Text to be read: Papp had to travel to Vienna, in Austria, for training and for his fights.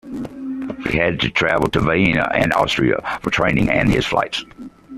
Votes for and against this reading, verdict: 1, 2, rejected